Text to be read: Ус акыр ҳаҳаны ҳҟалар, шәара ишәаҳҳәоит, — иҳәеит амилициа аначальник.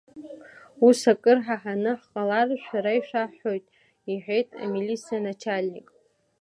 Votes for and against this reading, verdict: 2, 1, accepted